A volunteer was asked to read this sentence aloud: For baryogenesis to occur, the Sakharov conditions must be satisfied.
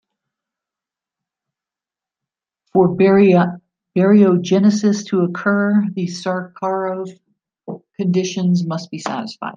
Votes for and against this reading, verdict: 1, 2, rejected